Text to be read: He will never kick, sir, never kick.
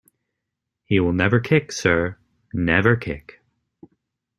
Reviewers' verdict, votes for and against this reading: accepted, 2, 0